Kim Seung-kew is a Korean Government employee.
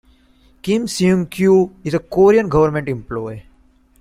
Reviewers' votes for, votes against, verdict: 2, 0, accepted